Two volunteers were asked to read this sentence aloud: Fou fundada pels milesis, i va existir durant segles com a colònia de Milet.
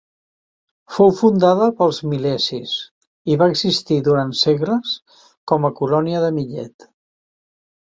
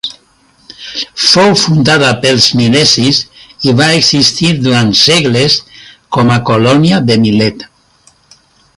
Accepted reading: second